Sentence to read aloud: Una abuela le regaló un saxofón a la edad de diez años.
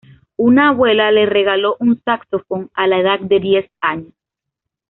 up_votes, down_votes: 2, 0